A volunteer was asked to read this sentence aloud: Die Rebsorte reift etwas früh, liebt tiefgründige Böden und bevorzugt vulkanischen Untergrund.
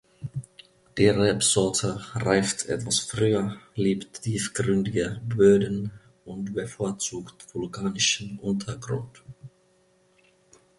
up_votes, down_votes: 0, 2